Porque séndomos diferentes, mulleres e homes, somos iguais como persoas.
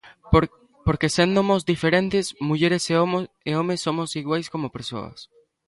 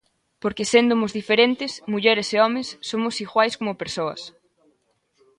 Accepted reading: second